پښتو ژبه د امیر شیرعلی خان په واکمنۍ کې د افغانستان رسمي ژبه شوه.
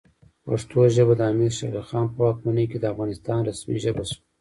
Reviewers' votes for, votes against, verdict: 1, 2, rejected